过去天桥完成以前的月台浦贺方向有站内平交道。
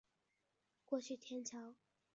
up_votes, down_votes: 2, 4